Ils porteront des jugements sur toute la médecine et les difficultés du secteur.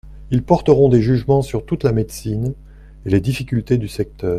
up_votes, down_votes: 2, 0